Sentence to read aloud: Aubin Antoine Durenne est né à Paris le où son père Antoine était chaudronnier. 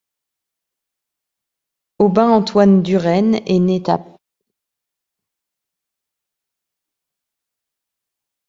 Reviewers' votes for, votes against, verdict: 0, 2, rejected